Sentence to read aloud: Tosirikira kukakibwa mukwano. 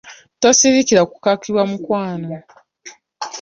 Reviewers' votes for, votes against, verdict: 2, 0, accepted